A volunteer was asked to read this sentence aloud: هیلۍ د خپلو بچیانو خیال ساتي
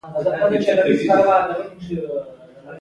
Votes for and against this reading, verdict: 1, 2, rejected